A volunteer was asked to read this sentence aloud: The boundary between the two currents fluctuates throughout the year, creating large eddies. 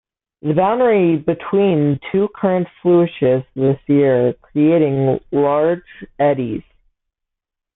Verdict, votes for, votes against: rejected, 0, 2